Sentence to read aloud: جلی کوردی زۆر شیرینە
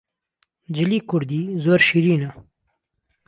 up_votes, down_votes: 2, 0